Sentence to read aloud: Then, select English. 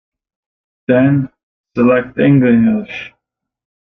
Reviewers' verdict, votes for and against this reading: rejected, 0, 2